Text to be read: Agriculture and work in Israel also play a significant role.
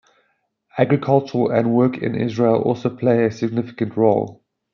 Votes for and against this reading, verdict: 1, 2, rejected